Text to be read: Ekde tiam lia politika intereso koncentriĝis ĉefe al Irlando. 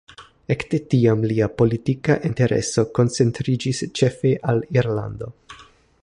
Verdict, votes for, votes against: accepted, 3, 0